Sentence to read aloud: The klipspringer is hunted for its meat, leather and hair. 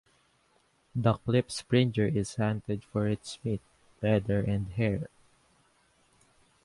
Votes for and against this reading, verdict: 2, 0, accepted